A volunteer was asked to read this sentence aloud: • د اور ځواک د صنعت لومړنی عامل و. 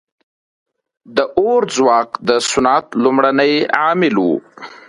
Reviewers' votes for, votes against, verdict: 2, 0, accepted